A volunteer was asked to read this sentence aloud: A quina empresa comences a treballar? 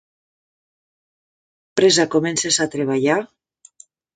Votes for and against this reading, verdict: 0, 2, rejected